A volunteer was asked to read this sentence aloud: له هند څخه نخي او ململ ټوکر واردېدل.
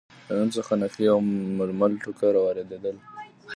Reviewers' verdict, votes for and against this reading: rejected, 0, 2